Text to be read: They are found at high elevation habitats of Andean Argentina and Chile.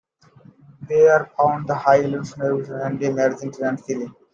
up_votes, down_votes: 0, 2